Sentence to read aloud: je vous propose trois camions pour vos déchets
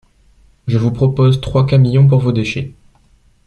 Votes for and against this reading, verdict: 2, 0, accepted